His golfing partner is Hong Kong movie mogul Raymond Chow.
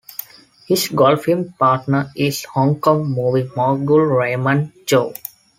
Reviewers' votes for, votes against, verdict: 2, 0, accepted